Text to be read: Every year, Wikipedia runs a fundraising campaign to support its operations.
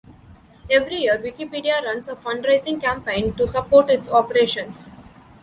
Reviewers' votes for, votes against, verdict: 2, 0, accepted